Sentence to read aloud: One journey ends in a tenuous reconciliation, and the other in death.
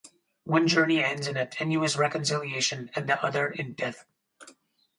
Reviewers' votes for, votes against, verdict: 2, 0, accepted